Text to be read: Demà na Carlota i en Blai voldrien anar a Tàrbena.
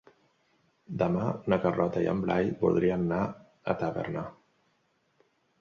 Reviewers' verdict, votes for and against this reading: rejected, 0, 2